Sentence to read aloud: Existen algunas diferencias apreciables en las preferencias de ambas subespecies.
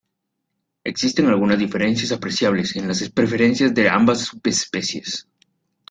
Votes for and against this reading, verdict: 0, 2, rejected